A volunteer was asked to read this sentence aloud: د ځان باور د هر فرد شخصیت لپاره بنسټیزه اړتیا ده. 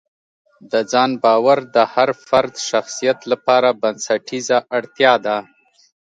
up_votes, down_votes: 2, 0